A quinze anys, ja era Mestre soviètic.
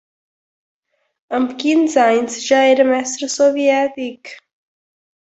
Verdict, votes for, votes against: accepted, 2, 1